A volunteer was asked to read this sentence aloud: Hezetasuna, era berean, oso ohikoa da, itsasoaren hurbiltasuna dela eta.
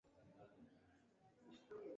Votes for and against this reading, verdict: 0, 2, rejected